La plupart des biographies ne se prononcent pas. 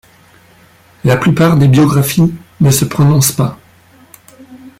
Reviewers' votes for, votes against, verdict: 2, 0, accepted